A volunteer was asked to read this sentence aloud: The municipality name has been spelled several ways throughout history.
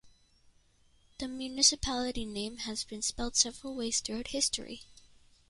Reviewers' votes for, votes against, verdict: 1, 2, rejected